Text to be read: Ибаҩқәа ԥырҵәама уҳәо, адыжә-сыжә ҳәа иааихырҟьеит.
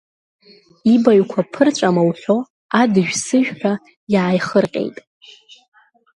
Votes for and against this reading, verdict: 2, 1, accepted